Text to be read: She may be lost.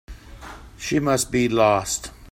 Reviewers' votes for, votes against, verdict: 0, 2, rejected